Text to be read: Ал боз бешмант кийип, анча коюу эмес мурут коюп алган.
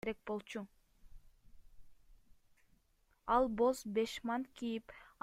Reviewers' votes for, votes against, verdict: 0, 2, rejected